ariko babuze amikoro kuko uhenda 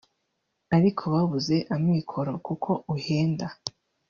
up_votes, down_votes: 1, 2